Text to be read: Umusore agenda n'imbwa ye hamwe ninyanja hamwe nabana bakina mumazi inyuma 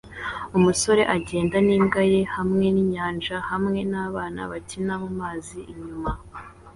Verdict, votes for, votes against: accepted, 2, 0